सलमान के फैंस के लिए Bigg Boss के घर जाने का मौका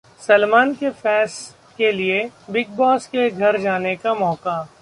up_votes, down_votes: 1, 2